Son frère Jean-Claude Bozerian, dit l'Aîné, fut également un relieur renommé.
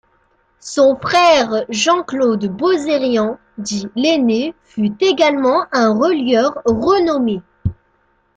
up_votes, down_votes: 2, 0